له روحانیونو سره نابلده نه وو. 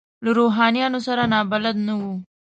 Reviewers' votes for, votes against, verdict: 2, 0, accepted